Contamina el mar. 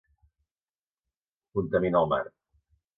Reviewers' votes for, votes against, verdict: 2, 0, accepted